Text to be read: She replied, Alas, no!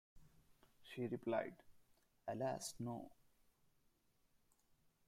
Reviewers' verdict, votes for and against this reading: rejected, 1, 2